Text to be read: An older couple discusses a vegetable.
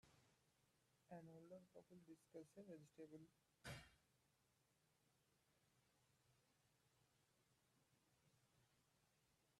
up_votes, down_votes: 0, 2